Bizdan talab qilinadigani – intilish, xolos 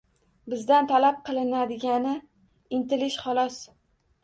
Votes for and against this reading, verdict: 2, 0, accepted